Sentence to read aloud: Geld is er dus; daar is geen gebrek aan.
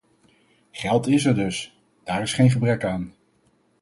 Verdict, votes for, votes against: accepted, 4, 0